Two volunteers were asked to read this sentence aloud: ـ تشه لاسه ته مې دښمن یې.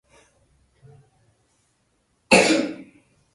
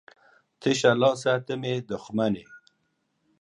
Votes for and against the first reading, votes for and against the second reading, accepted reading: 0, 2, 2, 0, second